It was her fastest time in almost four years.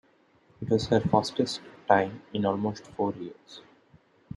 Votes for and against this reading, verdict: 2, 0, accepted